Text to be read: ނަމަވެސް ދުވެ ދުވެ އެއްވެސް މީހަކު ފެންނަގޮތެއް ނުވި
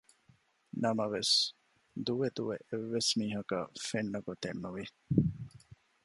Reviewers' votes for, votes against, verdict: 0, 2, rejected